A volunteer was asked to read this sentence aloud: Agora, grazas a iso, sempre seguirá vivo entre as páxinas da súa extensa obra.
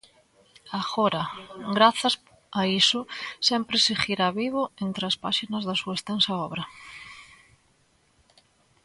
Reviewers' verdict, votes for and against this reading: rejected, 1, 2